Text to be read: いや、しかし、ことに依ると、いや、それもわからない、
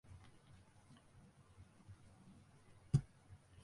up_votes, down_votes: 0, 3